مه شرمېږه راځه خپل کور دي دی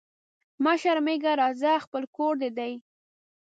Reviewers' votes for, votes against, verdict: 2, 0, accepted